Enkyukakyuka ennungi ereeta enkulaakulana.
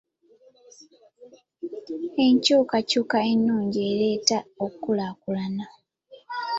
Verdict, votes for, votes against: rejected, 0, 2